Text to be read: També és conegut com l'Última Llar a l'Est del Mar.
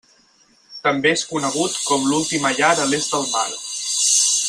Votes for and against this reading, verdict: 2, 4, rejected